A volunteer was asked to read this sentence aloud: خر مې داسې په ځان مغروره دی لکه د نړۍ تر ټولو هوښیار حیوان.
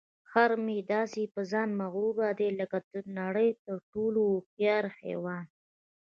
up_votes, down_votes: 1, 2